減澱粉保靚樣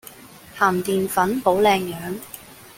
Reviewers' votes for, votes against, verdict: 1, 2, rejected